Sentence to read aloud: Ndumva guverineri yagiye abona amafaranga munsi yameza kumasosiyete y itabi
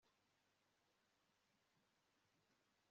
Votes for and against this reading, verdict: 1, 2, rejected